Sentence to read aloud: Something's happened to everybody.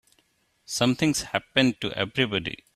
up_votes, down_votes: 2, 0